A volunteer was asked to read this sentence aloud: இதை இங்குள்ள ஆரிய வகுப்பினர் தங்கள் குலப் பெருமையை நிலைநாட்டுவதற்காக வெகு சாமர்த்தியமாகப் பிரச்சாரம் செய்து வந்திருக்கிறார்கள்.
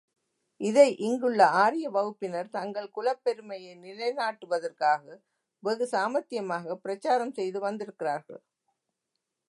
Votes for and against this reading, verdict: 2, 0, accepted